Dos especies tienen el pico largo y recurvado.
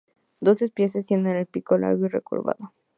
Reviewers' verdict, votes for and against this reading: rejected, 0, 2